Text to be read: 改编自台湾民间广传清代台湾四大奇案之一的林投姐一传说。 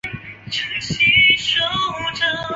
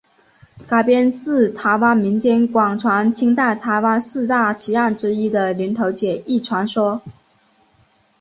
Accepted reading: second